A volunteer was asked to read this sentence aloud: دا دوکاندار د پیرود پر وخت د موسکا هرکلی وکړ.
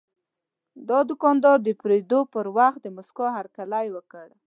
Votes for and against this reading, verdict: 0, 2, rejected